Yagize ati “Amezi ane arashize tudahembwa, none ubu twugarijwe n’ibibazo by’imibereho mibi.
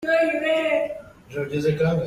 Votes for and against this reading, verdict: 0, 3, rejected